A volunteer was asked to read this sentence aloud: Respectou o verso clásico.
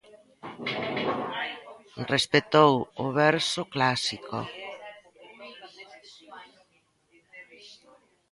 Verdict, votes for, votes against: rejected, 0, 2